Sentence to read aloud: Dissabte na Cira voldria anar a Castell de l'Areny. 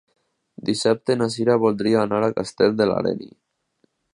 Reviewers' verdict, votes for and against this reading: accepted, 2, 0